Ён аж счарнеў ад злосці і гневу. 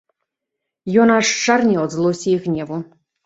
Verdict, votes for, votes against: accepted, 3, 0